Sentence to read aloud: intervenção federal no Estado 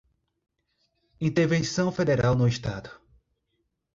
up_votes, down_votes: 2, 0